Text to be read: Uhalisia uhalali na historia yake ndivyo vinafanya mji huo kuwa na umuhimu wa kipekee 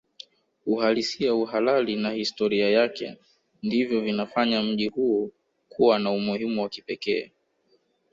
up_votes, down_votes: 0, 2